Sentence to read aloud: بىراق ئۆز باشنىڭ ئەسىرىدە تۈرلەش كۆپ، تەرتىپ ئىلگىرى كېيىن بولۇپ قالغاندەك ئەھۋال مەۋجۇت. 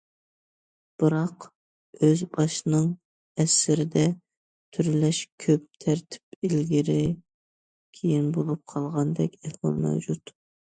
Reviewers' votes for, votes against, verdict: 2, 0, accepted